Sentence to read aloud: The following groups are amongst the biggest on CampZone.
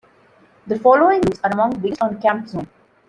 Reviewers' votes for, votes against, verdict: 1, 2, rejected